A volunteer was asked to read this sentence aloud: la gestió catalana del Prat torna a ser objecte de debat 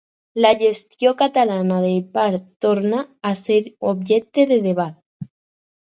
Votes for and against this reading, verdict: 0, 4, rejected